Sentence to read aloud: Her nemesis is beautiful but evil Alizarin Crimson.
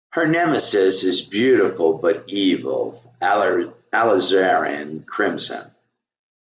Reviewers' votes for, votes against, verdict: 2, 1, accepted